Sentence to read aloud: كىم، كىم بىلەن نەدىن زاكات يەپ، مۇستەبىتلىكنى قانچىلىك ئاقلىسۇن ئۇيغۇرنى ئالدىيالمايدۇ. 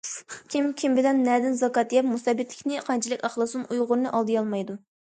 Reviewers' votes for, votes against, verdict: 2, 0, accepted